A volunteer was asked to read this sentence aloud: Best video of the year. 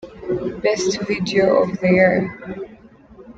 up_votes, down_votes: 1, 2